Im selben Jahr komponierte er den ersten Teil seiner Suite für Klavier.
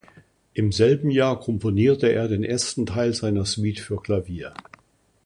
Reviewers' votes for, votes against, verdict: 2, 0, accepted